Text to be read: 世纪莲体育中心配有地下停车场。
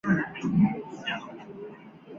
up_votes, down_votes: 0, 2